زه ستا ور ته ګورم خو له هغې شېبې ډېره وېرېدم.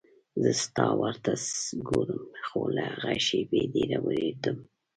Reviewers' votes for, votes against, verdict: 1, 2, rejected